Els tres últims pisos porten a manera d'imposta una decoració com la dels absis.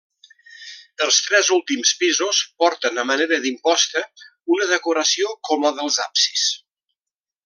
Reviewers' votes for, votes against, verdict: 2, 0, accepted